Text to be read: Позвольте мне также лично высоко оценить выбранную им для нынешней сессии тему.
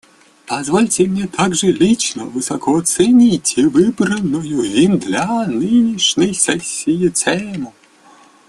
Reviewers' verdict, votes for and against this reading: accepted, 2, 0